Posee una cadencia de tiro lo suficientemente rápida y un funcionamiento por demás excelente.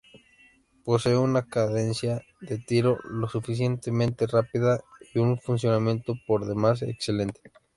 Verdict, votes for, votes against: accepted, 2, 0